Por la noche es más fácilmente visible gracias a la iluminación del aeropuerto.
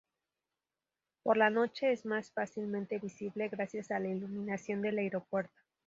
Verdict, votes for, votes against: accepted, 2, 0